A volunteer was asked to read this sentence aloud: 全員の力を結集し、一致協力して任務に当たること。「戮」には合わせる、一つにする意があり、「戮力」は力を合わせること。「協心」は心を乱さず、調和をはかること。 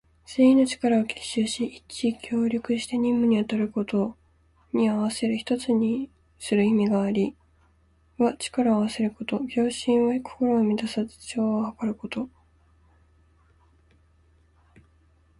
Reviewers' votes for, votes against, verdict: 0, 2, rejected